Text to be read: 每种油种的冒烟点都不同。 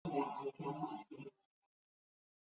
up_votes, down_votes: 2, 4